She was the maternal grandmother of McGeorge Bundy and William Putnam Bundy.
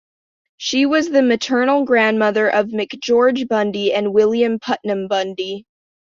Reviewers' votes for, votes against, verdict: 1, 2, rejected